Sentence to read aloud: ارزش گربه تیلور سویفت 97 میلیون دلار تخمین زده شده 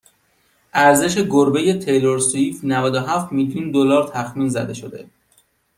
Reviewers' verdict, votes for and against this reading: rejected, 0, 2